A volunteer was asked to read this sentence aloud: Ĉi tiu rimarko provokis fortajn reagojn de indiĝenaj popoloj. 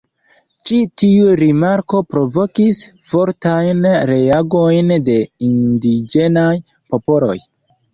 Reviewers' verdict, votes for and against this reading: rejected, 0, 2